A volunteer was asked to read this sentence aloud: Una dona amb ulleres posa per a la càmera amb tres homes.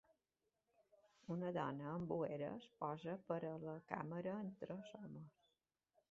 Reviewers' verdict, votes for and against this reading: rejected, 0, 2